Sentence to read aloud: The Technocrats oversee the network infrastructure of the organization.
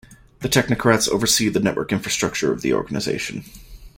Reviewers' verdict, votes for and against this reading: accepted, 2, 0